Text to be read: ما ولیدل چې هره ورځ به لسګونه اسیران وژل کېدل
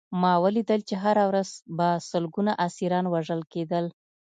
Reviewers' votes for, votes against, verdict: 2, 0, accepted